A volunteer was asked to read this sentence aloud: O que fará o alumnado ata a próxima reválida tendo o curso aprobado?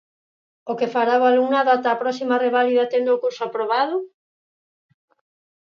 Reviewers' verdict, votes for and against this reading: accepted, 4, 0